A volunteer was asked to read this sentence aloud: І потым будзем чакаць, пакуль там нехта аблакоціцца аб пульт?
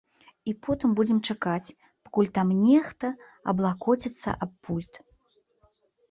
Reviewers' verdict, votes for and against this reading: accepted, 2, 0